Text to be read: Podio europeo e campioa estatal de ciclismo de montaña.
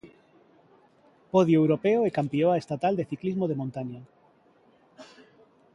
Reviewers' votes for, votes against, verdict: 2, 0, accepted